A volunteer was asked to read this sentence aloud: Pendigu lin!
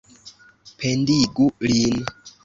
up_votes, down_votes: 2, 0